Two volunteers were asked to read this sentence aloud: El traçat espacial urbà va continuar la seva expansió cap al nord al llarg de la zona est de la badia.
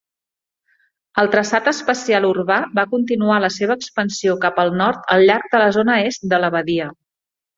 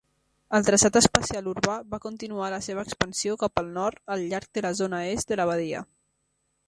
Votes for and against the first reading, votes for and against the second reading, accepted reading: 3, 0, 1, 2, first